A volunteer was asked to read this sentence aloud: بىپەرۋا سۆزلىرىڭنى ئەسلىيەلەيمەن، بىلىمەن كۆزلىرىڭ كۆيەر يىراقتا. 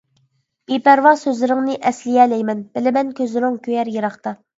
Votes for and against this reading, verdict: 2, 0, accepted